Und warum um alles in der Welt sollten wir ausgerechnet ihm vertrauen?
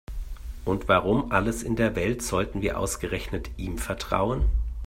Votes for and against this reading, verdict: 0, 2, rejected